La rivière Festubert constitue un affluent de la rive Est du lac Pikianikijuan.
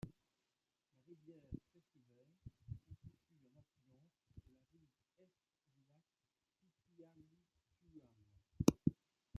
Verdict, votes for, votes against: rejected, 1, 2